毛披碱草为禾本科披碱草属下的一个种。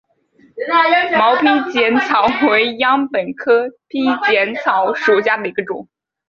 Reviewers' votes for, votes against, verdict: 1, 2, rejected